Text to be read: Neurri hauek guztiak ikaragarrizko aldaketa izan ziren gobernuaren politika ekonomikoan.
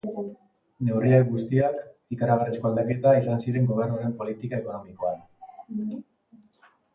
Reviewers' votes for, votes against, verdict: 0, 2, rejected